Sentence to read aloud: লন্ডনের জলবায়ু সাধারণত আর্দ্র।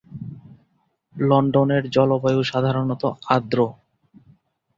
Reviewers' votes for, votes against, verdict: 2, 0, accepted